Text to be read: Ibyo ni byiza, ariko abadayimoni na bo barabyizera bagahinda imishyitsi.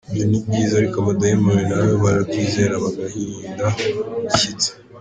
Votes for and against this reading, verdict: 3, 0, accepted